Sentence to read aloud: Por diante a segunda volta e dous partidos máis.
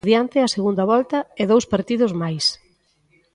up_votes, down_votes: 0, 2